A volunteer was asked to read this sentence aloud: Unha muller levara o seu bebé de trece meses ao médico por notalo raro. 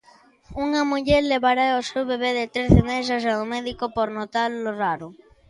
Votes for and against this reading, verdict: 0, 2, rejected